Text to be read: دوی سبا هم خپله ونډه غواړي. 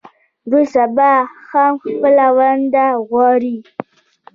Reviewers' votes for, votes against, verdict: 2, 0, accepted